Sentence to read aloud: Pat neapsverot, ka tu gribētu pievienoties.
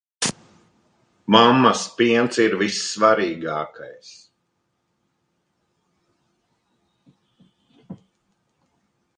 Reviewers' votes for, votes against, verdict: 1, 2, rejected